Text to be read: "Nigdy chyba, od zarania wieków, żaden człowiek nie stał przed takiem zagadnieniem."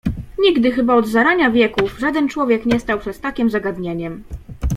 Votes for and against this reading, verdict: 2, 0, accepted